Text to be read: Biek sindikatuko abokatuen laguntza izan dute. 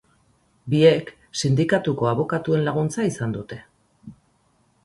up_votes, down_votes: 4, 0